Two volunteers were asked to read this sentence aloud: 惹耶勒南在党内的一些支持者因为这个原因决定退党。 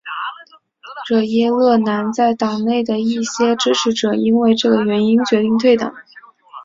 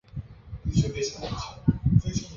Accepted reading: first